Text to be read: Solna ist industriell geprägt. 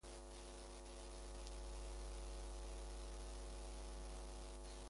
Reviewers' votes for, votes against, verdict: 0, 2, rejected